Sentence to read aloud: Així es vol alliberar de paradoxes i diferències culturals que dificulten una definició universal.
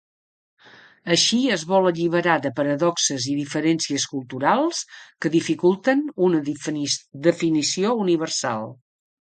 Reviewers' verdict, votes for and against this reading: rejected, 0, 3